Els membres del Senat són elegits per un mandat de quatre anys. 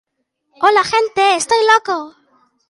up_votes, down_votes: 2, 0